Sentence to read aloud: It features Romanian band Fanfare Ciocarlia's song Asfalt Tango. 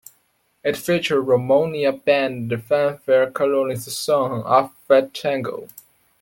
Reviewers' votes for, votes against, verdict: 0, 2, rejected